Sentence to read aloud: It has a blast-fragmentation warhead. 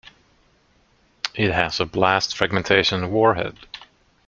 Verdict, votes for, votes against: accepted, 2, 0